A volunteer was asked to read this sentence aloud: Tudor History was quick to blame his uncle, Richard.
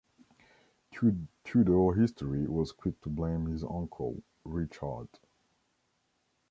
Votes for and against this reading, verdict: 1, 3, rejected